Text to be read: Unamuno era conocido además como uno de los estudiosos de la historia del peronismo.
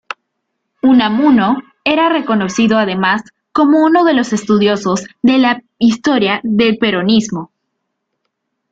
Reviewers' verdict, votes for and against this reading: rejected, 0, 2